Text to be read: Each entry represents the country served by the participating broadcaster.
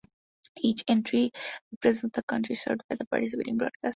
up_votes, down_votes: 0, 2